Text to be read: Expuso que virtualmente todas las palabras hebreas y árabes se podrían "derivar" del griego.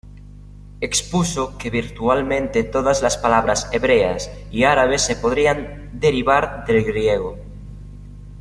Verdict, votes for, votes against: rejected, 1, 2